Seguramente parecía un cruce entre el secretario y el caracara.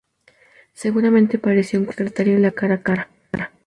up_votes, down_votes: 0, 2